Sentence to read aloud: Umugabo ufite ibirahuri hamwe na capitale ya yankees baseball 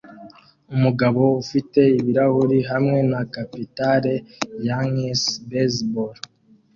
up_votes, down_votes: 2, 0